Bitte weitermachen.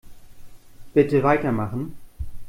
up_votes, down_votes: 2, 0